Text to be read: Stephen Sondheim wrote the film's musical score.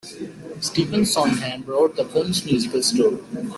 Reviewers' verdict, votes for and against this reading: rejected, 1, 2